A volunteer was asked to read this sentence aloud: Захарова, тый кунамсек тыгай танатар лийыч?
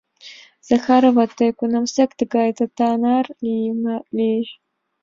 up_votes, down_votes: 0, 5